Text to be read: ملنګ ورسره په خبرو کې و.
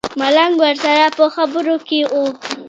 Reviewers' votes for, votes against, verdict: 1, 2, rejected